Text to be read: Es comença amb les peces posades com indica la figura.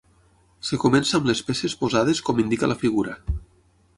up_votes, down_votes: 0, 6